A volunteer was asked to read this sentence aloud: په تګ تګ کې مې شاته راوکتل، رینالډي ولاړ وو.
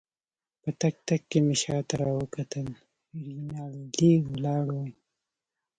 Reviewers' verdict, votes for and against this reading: rejected, 1, 2